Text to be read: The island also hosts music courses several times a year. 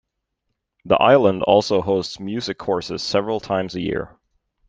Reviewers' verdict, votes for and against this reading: accepted, 2, 0